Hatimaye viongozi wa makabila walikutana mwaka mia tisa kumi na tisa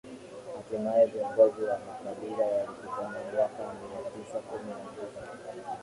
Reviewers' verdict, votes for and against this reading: rejected, 0, 2